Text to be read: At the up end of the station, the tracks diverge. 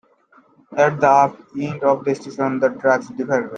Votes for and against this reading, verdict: 1, 2, rejected